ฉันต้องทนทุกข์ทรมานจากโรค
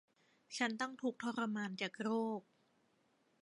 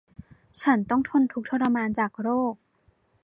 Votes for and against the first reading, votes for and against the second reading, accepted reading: 0, 2, 2, 0, second